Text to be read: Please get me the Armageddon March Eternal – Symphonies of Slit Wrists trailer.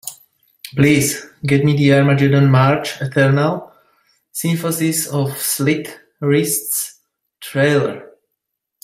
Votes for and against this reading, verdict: 1, 2, rejected